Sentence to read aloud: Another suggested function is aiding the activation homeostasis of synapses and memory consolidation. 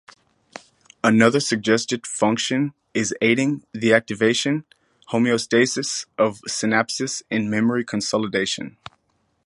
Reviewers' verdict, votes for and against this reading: rejected, 0, 2